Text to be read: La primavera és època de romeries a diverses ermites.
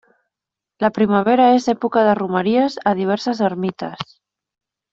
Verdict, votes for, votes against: accepted, 3, 0